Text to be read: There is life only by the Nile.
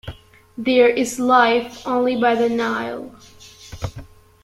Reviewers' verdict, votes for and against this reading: accepted, 2, 0